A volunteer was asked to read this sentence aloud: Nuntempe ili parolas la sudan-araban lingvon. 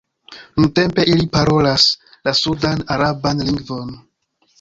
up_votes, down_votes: 1, 2